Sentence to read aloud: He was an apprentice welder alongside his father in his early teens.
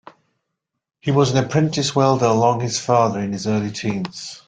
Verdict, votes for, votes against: rejected, 0, 2